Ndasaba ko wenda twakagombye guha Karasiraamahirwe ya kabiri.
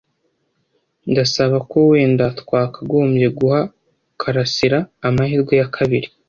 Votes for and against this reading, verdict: 2, 0, accepted